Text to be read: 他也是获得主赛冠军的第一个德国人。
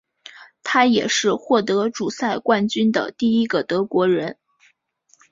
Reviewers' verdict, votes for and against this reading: accepted, 4, 0